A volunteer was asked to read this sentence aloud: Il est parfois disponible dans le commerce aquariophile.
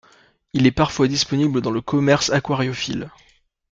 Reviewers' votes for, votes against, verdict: 2, 0, accepted